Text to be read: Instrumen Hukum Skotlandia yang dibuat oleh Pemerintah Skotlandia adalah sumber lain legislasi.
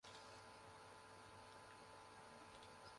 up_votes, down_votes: 0, 2